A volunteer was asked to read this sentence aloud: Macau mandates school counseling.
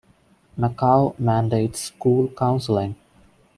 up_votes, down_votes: 2, 1